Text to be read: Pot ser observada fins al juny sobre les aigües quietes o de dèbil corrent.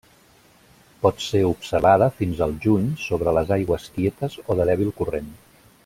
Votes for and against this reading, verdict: 0, 2, rejected